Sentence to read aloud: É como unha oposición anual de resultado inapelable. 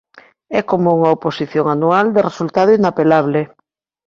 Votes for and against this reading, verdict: 2, 0, accepted